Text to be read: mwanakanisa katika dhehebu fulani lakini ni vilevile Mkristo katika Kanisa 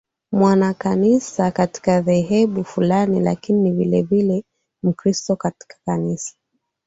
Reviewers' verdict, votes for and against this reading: accepted, 2, 0